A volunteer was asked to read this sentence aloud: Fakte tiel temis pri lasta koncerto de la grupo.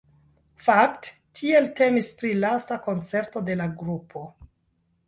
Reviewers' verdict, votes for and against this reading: accepted, 2, 1